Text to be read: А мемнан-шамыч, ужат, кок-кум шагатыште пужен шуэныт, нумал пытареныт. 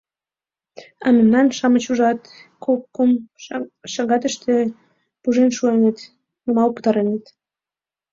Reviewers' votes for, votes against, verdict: 1, 2, rejected